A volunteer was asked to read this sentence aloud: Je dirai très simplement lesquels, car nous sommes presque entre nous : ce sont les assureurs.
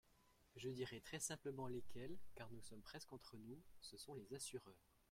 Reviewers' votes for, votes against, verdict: 2, 0, accepted